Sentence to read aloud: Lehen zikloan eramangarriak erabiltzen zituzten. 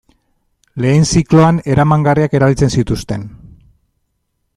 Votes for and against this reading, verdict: 1, 2, rejected